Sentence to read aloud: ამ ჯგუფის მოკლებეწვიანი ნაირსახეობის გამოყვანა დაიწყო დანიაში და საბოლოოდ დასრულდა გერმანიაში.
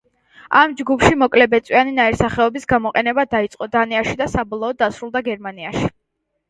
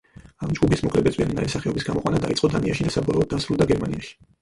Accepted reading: first